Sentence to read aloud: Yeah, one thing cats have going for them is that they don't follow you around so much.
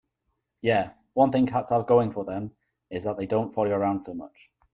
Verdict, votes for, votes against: accepted, 2, 0